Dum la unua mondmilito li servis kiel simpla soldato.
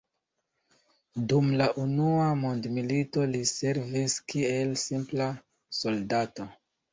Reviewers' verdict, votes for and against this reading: accepted, 2, 0